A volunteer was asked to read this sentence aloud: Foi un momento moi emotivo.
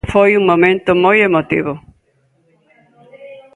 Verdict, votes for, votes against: accepted, 2, 0